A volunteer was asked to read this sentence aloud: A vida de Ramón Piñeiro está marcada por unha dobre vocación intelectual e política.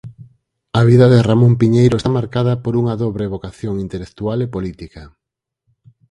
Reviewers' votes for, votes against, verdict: 0, 4, rejected